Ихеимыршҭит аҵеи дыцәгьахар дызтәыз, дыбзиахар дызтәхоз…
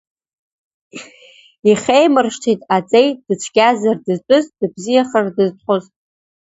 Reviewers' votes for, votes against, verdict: 1, 2, rejected